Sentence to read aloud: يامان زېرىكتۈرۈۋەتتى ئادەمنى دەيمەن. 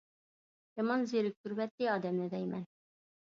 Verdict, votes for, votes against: accepted, 2, 0